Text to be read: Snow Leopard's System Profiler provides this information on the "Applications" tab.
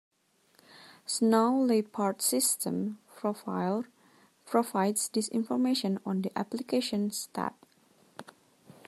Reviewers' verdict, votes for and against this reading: accepted, 2, 1